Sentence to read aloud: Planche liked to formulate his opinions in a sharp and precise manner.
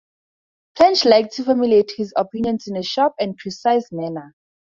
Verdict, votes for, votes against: rejected, 0, 2